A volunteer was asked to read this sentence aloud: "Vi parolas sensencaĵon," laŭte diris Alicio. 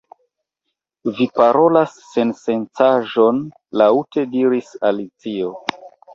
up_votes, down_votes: 0, 2